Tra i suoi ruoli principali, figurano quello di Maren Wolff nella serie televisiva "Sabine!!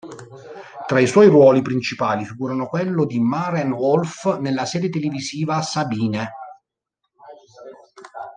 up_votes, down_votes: 1, 2